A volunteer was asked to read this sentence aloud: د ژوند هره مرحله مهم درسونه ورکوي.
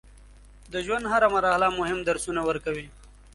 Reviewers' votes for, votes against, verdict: 2, 0, accepted